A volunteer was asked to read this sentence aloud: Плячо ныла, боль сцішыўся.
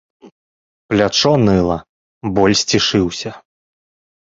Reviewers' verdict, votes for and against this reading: rejected, 1, 2